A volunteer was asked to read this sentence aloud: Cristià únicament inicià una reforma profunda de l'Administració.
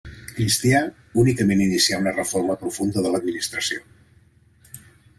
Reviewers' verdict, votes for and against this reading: rejected, 0, 2